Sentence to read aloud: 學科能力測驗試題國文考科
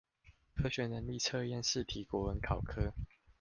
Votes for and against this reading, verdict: 0, 2, rejected